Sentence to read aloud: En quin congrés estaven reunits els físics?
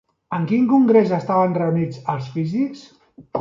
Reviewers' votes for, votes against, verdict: 3, 0, accepted